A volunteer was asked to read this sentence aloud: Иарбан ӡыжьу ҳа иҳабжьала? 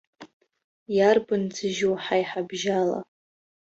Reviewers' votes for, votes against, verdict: 1, 2, rejected